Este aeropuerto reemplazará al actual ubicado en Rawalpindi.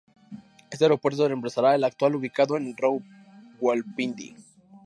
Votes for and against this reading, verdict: 0, 2, rejected